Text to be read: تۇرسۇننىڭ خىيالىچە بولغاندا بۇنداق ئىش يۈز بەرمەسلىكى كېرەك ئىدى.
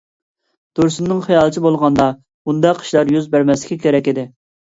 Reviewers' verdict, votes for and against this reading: rejected, 0, 2